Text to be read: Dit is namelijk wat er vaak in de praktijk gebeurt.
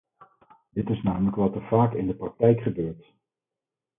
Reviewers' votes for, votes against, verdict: 0, 4, rejected